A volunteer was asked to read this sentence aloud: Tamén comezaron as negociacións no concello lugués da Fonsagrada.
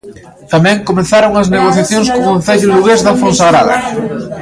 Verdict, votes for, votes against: rejected, 1, 2